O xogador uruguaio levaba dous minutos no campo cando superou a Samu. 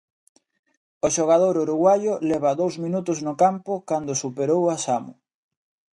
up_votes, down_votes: 1, 2